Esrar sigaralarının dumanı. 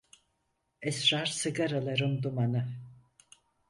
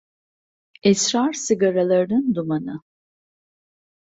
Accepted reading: second